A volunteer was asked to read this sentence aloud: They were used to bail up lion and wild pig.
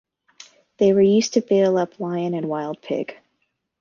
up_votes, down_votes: 2, 0